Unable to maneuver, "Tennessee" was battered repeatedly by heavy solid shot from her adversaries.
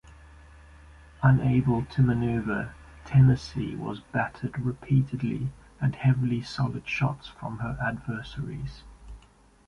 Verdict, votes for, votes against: rejected, 0, 2